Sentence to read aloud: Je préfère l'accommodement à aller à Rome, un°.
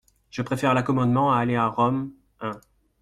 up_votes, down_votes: 2, 1